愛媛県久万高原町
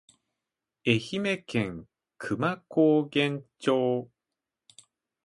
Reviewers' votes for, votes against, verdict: 2, 0, accepted